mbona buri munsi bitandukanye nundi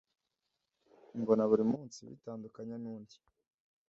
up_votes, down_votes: 2, 0